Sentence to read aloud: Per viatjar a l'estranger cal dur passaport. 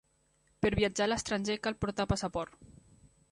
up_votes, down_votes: 1, 2